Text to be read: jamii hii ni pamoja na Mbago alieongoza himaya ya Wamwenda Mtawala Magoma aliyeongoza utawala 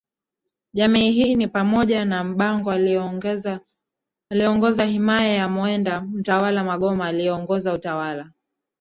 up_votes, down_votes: 0, 2